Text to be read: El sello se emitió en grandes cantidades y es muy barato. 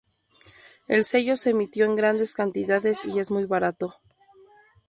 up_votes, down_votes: 4, 0